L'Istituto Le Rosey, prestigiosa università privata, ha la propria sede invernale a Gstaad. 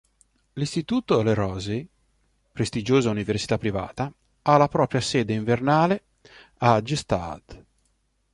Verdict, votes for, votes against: accepted, 2, 0